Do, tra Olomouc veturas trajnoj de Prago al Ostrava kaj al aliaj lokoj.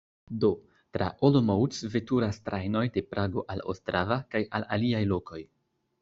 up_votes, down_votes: 2, 0